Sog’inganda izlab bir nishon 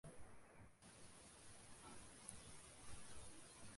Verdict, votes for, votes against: rejected, 0, 2